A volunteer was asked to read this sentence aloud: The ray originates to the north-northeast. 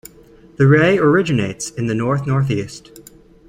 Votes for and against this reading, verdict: 0, 2, rejected